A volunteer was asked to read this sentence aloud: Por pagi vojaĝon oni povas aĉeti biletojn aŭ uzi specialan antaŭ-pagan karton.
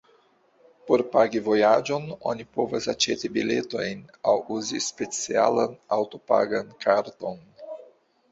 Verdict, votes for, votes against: rejected, 1, 2